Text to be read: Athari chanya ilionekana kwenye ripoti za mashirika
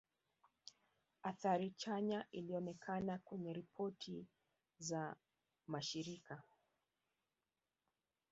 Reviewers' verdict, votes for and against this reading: accepted, 3, 0